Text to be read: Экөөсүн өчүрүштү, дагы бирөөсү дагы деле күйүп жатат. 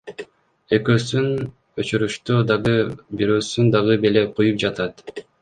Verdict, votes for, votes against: rejected, 1, 2